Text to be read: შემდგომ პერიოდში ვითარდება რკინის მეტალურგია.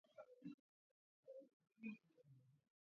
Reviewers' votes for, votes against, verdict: 0, 2, rejected